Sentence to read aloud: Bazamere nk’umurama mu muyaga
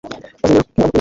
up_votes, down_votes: 0, 2